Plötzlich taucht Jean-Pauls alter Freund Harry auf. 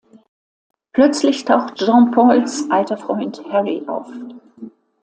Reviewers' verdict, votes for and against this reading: accepted, 2, 0